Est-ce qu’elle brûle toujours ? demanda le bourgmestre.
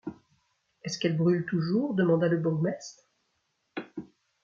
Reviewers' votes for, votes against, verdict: 2, 0, accepted